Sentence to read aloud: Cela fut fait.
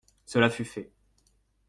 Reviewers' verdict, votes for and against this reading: accepted, 2, 0